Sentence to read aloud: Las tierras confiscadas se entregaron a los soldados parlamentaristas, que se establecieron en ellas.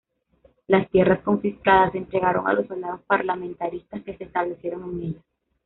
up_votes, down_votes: 2, 1